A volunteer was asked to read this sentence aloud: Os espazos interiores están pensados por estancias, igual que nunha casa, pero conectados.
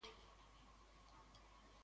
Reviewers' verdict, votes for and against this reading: rejected, 0, 2